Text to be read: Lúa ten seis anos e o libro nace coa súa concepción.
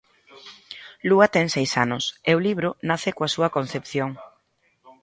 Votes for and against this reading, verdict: 0, 2, rejected